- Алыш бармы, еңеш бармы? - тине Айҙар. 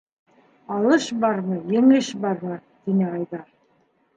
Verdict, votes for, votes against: rejected, 1, 2